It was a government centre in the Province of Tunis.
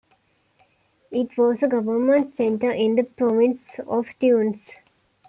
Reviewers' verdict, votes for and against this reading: accepted, 2, 1